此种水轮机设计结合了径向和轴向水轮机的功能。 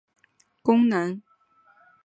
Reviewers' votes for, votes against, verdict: 0, 5, rejected